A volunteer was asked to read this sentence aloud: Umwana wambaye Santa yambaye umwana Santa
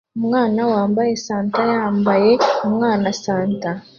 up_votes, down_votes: 2, 0